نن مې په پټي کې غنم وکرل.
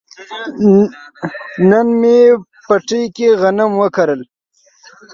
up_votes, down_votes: 2, 1